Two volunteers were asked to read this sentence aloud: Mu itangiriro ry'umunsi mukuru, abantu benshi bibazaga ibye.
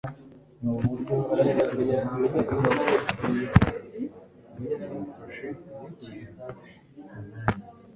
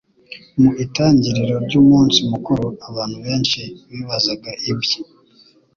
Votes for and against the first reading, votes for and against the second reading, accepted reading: 1, 2, 2, 0, second